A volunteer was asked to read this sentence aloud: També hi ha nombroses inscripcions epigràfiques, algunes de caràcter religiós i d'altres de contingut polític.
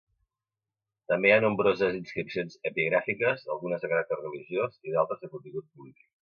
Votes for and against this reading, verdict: 1, 2, rejected